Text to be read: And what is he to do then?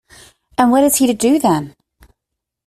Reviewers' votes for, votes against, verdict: 2, 0, accepted